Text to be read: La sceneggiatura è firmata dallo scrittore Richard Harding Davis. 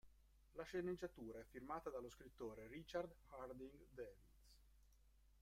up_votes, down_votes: 0, 2